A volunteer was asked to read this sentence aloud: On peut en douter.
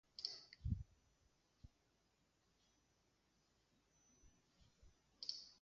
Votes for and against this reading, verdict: 0, 2, rejected